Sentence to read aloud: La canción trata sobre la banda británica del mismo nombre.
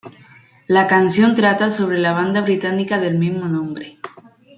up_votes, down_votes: 2, 0